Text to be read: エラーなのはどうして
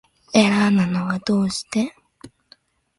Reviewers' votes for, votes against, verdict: 2, 0, accepted